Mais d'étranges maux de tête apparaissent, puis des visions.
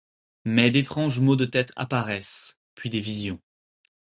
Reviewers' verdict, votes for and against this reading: accepted, 4, 0